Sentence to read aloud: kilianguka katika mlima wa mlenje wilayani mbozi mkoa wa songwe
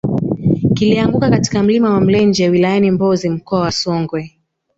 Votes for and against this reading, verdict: 0, 2, rejected